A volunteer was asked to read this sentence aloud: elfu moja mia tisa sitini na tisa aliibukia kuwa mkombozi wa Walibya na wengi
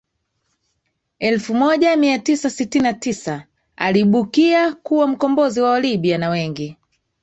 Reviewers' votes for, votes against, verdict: 3, 2, accepted